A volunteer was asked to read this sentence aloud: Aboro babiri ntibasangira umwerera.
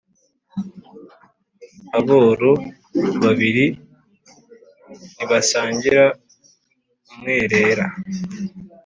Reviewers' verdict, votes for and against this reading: accepted, 2, 0